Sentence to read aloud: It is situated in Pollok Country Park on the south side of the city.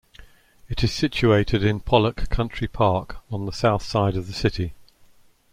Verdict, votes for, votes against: accepted, 2, 0